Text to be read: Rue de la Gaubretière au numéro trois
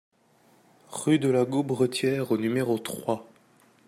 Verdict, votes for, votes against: accepted, 2, 0